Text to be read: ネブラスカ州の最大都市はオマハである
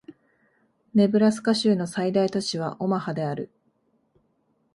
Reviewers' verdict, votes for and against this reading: accepted, 2, 0